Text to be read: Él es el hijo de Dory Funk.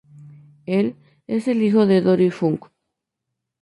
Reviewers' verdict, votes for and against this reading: accepted, 4, 0